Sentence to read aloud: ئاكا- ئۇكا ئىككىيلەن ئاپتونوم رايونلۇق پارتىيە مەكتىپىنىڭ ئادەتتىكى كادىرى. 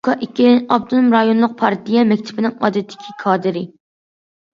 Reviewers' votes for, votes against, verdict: 0, 2, rejected